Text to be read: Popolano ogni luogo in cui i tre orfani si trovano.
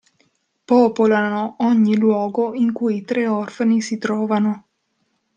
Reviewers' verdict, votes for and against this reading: rejected, 1, 2